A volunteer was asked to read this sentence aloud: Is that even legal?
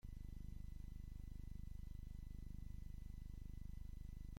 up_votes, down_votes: 1, 2